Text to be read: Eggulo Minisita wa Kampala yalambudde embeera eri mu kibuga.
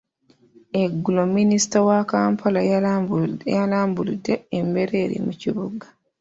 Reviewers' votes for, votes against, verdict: 0, 2, rejected